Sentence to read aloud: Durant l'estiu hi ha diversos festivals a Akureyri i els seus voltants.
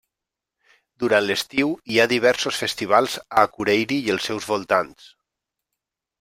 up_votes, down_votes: 3, 0